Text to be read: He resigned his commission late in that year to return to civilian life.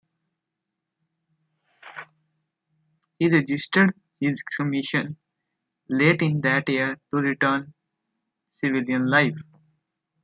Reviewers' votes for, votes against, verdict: 0, 2, rejected